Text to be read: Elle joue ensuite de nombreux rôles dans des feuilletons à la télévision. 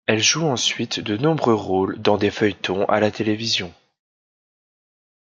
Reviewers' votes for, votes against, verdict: 2, 0, accepted